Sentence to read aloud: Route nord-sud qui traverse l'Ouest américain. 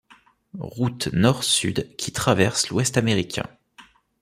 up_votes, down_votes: 2, 0